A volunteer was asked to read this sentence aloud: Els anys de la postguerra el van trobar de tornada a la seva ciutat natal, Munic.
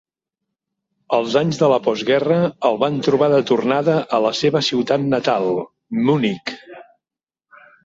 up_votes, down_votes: 3, 0